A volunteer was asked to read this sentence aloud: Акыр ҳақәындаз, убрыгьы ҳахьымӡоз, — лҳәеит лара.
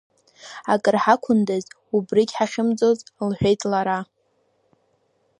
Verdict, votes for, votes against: accepted, 2, 0